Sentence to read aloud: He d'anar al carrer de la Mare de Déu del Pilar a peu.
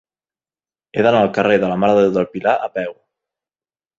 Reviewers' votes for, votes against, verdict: 2, 0, accepted